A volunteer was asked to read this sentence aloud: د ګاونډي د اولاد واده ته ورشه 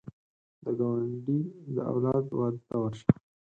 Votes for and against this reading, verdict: 4, 0, accepted